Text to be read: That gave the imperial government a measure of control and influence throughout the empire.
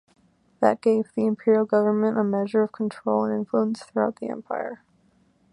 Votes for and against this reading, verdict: 2, 0, accepted